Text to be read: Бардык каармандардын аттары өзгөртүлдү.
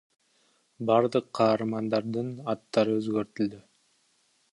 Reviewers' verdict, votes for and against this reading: rejected, 1, 2